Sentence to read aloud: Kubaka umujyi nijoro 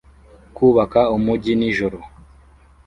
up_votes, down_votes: 2, 0